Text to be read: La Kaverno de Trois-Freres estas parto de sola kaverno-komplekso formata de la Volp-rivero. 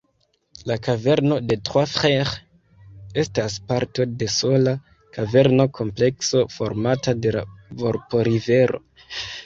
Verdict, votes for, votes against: accepted, 2, 0